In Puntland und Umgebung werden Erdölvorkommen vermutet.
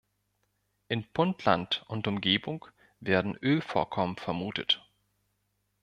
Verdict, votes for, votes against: rejected, 1, 2